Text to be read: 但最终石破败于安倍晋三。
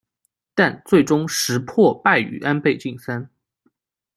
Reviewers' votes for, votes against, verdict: 2, 0, accepted